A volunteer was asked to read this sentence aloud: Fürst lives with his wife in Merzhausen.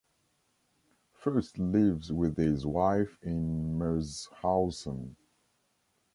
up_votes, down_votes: 2, 0